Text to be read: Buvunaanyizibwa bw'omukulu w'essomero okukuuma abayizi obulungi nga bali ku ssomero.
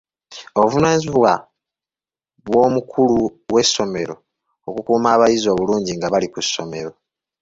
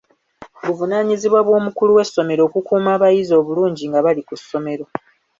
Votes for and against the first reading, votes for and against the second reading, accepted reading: 0, 2, 3, 0, second